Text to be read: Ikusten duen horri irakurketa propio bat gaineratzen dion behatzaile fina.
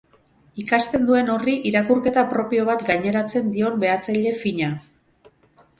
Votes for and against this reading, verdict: 0, 2, rejected